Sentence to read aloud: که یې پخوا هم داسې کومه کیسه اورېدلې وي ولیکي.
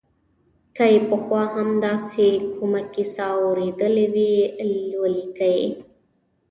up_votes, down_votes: 0, 2